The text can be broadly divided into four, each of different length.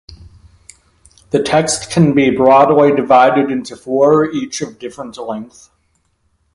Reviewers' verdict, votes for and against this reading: rejected, 0, 2